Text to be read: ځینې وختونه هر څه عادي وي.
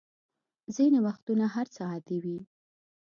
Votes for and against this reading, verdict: 2, 0, accepted